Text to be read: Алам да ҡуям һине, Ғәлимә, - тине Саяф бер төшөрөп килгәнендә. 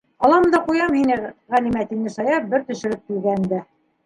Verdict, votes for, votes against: accepted, 2, 0